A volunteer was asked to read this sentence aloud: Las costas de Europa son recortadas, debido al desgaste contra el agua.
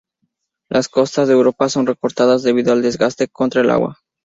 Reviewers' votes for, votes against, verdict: 4, 0, accepted